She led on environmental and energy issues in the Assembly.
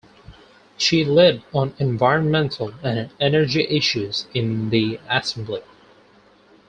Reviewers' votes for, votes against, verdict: 0, 4, rejected